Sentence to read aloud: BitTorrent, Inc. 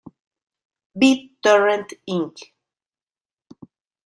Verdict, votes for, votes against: rejected, 1, 2